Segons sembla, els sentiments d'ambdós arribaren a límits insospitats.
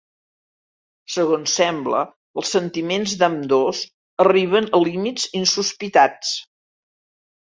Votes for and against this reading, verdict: 0, 2, rejected